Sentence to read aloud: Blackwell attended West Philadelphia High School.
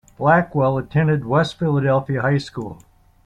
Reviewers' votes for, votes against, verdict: 3, 0, accepted